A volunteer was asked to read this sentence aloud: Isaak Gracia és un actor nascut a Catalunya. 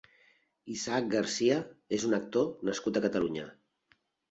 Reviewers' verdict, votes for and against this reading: rejected, 1, 2